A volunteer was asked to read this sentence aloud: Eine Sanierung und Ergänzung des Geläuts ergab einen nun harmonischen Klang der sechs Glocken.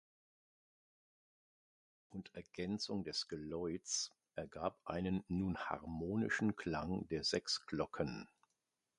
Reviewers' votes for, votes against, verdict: 0, 2, rejected